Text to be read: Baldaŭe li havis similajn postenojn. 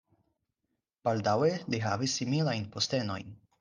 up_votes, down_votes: 4, 0